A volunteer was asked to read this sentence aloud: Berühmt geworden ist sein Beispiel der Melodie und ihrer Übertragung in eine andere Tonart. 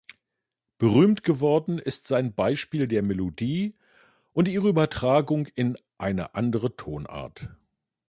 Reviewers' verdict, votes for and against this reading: accepted, 2, 1